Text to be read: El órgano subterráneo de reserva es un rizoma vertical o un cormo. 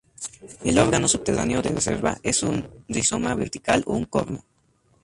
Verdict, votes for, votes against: accepted, 2, 0